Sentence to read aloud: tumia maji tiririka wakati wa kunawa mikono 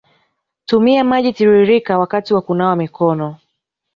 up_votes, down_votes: 2, 0